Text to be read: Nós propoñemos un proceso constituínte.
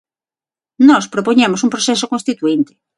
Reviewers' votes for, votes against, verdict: 6, 0, accepted